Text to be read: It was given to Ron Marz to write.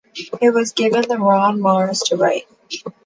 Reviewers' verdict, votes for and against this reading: rejected, 1, 3